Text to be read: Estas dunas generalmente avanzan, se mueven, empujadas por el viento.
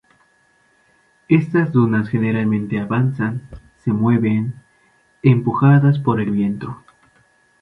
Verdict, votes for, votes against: accepted, 2, 0